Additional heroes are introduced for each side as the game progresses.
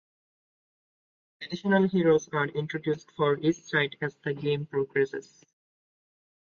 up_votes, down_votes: 2, 0